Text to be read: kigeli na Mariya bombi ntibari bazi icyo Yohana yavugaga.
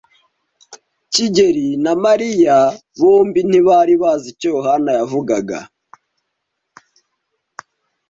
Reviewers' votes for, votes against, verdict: 2, 0, accepted